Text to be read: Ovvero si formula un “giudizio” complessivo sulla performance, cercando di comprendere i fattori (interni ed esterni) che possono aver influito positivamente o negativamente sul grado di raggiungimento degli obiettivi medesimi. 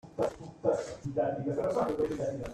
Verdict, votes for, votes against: rejected, 0, 2